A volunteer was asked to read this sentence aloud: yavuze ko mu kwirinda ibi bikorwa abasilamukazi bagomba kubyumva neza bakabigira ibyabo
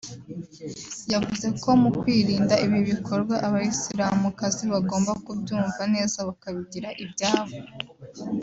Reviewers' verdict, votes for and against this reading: accepted, 2, 0